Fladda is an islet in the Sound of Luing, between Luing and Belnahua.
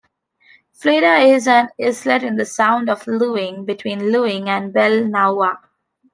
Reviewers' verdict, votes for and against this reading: rejected, 1, 2